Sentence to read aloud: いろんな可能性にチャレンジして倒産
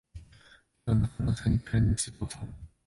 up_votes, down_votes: 0, 2